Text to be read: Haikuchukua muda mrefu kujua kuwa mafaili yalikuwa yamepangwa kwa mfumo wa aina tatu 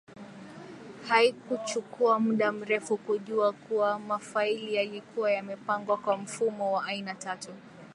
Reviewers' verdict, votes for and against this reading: rejected, 0, 2